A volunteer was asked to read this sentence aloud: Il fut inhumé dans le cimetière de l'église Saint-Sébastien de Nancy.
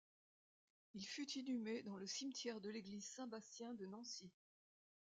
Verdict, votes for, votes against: rejected, 0, 2